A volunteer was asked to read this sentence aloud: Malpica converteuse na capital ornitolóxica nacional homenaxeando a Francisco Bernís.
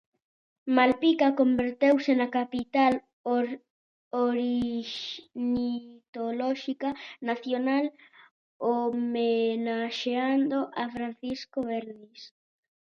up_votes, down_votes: 0, 2